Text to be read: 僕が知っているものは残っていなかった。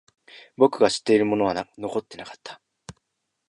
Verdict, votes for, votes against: rejected, 0, 2